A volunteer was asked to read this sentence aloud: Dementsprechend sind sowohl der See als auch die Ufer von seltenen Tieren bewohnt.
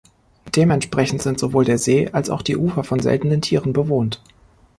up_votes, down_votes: 2, 0